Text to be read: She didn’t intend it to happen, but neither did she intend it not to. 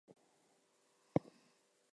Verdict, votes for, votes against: rejected, 0, 2